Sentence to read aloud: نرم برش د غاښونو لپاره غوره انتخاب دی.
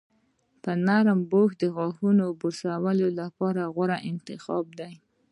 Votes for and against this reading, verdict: 2, 1, accepted